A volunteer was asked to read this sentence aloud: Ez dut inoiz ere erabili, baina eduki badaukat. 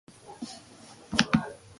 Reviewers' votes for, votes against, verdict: 0, 2, rejected